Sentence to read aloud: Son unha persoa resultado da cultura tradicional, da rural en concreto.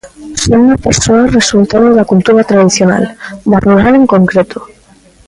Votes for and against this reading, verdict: 1, 2, rejected